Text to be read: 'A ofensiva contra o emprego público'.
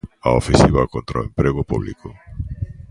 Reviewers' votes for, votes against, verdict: 2, 0, accepted